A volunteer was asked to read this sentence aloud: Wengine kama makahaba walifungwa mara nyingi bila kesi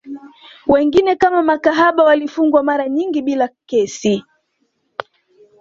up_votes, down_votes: 2, 0